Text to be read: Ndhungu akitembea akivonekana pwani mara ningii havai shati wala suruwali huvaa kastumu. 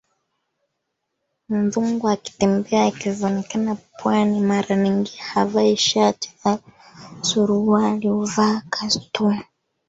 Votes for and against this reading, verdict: 0, 2, rejected